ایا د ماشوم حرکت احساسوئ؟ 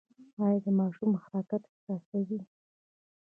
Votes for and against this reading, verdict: 1, 2, rejected